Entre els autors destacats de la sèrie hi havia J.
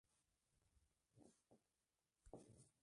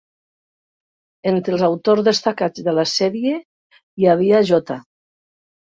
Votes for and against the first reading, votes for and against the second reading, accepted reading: 0, 2, 3, 0, second